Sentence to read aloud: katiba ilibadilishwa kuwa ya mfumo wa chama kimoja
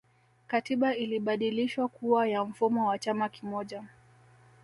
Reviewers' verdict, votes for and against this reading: accepted, 2, 0